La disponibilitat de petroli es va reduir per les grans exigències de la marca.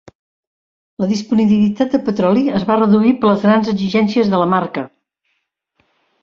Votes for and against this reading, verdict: 2, 1, accepted